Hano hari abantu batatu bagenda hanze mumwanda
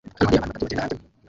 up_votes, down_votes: 0, 2